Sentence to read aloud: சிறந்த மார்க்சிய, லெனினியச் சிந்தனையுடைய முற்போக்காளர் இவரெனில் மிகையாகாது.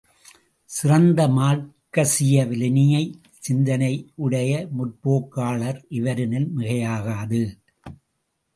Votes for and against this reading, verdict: 1, 2, rejected